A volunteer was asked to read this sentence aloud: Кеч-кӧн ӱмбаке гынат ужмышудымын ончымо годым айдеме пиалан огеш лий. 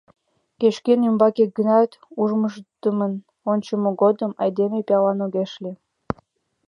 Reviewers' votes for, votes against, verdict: 2, 1, accepted